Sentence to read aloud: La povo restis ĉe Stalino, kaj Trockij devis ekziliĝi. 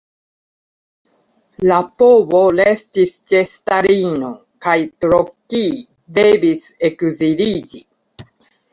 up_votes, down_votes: 2, 0